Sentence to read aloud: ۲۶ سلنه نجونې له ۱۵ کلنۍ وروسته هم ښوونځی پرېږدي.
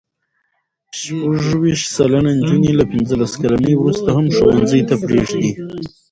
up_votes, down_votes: 0, 2